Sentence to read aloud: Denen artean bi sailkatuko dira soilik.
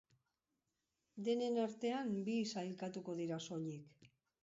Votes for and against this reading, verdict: 0, 2, rejected